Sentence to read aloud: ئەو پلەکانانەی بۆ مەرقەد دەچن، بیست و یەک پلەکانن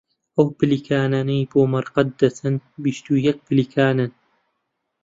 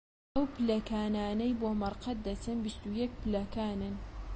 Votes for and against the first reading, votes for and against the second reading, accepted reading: 0, 2, 2, 0, second